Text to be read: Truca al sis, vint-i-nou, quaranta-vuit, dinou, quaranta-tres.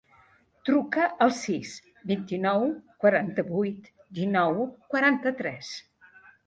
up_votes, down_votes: 2, 0